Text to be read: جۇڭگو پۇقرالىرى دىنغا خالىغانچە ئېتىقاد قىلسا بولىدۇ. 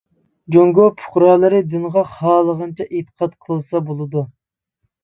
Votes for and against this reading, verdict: 2, 0, accepted